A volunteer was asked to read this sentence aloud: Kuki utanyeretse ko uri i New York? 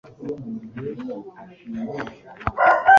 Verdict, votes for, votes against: rejected, 1, 2